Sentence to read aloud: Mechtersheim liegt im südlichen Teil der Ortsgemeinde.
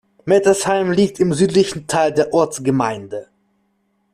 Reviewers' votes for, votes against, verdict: 1, 2, rejected